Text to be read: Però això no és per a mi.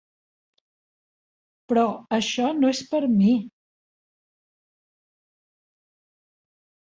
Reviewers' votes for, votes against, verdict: 0, 2, rejected